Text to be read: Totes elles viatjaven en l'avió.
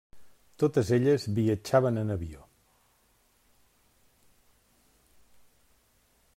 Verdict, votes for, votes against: rejected, 1, 2